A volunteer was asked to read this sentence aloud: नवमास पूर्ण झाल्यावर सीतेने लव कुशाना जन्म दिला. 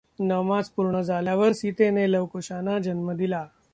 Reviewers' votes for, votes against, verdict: 2, 0, accepted